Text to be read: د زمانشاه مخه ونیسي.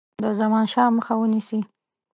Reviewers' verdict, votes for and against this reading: accepted, 3, 0